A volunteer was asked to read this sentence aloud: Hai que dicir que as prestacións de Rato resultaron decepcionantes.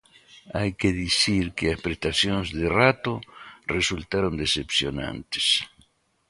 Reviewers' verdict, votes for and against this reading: accepted, 2, 0